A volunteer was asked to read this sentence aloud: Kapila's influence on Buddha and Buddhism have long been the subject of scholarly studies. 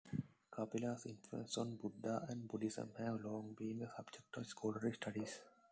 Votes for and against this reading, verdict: 1, 2, rejected